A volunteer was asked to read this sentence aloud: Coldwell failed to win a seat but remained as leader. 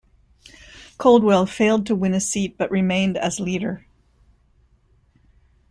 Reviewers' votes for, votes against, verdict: 2, 0, accepted